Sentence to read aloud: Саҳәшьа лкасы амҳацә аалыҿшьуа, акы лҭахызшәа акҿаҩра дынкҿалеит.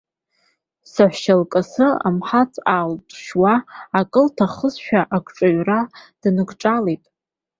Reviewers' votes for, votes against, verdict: 2, 0, accepted